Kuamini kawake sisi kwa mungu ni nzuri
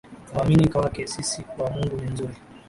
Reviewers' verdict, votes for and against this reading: rejected, 2, 2